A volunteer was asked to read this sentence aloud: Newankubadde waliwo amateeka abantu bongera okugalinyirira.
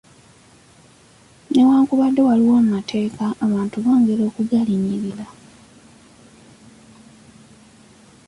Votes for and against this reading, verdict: 2, 0, accepted